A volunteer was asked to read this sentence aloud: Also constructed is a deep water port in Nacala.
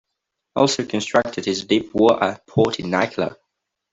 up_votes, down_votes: 0, 2